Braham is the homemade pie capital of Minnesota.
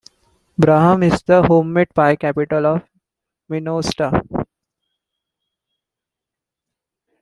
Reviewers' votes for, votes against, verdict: 0, 2, rejected